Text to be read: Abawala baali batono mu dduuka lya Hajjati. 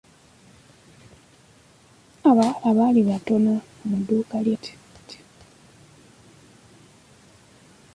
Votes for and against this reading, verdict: 0, 2, rejected